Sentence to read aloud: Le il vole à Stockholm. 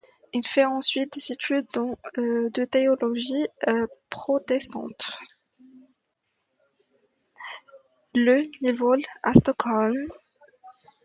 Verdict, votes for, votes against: rejected, 1, 2